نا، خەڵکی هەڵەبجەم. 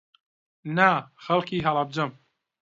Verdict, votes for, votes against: accepted, 2, 0